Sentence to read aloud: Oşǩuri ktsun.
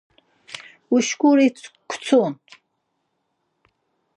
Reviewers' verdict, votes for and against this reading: rejected, 2, 4